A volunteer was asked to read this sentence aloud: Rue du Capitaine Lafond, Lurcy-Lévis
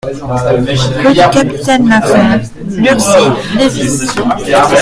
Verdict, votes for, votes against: rejected, 0, 2